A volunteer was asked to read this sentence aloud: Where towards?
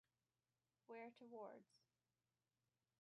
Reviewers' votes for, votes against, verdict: 2, 1, accepted